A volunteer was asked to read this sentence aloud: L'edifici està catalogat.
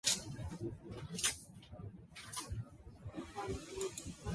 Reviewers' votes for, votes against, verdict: 0, 3, rejected